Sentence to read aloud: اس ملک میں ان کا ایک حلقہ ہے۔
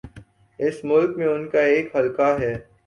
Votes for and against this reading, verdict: 2, 0, accepted